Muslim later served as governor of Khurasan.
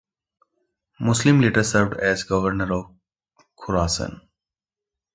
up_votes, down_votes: 2, 0